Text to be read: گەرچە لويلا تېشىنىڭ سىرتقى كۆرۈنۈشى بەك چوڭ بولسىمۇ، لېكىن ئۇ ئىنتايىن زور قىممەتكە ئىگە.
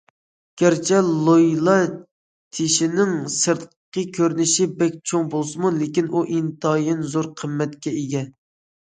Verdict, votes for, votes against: accepted, 2, 0